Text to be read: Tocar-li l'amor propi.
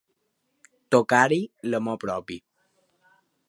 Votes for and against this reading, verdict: 0, 2, rejected